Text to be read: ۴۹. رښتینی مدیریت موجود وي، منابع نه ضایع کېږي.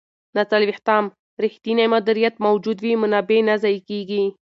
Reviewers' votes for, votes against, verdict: 0, 2, rejected